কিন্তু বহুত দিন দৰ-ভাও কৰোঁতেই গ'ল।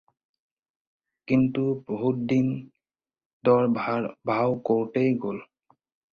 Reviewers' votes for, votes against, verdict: 2, 4, rejected